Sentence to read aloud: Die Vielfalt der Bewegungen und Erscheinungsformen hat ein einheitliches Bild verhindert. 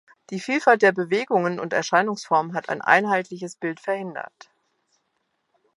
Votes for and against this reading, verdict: 2, 0, accepted